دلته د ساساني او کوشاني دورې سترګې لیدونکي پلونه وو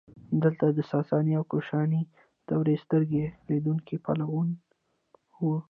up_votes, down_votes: 1, 2